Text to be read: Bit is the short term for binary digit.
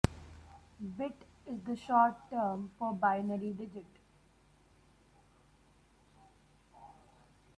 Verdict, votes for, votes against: rejected, 0, 2